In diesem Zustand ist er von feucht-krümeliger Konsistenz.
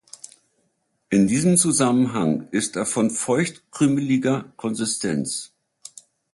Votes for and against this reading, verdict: 0, 2, rejected